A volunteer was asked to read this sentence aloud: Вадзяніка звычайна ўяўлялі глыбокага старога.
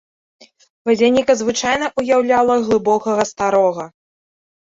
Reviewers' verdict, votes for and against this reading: rejected, 1, 2